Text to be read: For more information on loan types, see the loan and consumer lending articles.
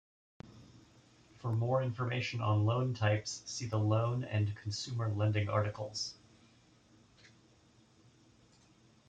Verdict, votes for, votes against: accepted, 2, 0